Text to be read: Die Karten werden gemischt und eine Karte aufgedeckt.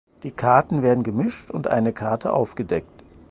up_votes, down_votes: 4, 0